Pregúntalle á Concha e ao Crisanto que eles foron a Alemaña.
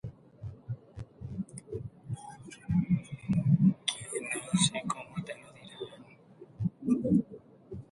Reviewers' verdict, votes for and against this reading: rejected, 0, 2